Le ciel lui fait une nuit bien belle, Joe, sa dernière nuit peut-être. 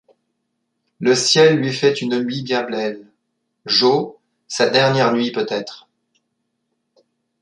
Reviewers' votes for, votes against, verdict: 0, 2, rejected